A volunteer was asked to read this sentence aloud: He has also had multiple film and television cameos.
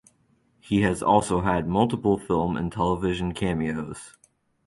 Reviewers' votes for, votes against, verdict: 4, 0, accepted